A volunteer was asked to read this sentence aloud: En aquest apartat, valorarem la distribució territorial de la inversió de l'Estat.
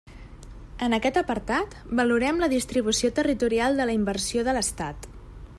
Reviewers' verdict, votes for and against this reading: rejected, 1, 2